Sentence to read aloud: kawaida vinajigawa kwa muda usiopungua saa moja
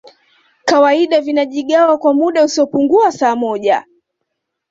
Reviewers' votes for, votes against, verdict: 2, 0, accepted